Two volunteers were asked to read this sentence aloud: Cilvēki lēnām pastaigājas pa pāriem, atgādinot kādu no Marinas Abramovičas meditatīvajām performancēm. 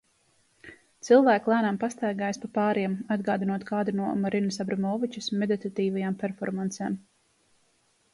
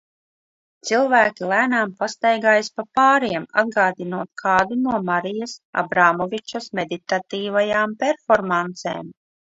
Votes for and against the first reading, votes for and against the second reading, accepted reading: 2, 0, 0, 2, first